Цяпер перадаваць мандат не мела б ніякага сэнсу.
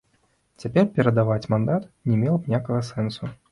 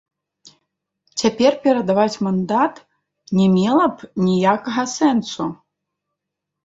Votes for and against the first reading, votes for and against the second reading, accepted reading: 2, 0, 1, 2, first